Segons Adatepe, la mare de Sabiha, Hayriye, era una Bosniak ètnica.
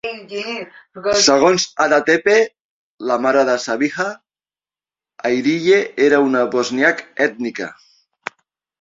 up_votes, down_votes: 0, 2